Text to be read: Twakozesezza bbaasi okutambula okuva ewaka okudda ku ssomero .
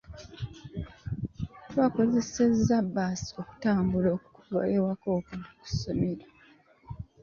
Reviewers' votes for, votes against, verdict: 0, 2, rejected